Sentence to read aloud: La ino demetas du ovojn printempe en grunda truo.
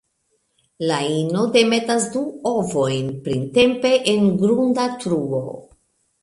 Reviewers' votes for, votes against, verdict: 2, 0, accepted